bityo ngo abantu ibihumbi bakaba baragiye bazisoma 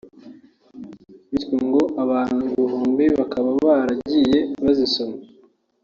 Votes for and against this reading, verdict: 3, 1, accepted